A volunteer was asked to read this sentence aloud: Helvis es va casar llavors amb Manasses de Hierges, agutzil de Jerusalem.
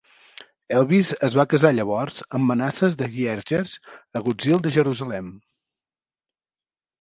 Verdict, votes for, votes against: accepted, 2, 0